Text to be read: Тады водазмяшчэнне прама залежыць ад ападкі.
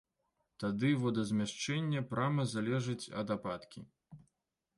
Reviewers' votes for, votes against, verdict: 2, 0, accepted